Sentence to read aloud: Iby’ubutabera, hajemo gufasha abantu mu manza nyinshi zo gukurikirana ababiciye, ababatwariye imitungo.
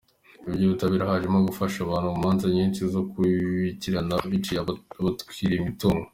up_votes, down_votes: 2, 1